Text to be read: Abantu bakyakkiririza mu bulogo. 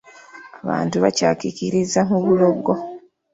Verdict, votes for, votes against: rejected, 0, 2